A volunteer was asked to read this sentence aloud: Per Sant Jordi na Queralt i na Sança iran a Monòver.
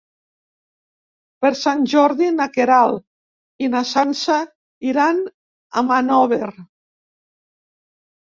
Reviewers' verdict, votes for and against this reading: rejected, 0, 2